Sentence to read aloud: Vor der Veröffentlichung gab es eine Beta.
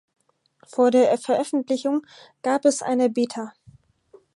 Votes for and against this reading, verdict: 2, 4, rejected